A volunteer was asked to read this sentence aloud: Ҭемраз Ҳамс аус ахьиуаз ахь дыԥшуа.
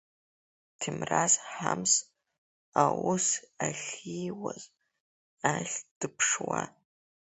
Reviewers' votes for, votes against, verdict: 2, 1, accepted